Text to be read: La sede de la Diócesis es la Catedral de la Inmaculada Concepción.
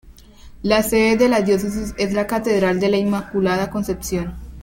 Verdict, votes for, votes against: accepted, 2, 0